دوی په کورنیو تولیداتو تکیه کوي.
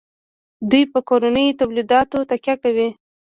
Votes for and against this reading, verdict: 0, 2, rejected